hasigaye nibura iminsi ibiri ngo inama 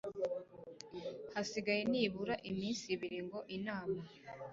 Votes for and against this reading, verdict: 2, 0, accepted